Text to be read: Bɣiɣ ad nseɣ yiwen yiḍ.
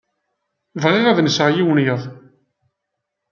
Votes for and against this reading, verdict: 2, 0, accepted